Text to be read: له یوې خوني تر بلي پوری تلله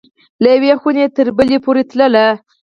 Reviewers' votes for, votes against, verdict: 2, 4, rejected